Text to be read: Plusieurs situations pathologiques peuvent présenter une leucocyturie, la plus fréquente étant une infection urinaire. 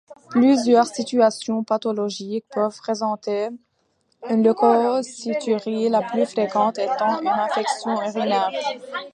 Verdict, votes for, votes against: rejected, 0, 2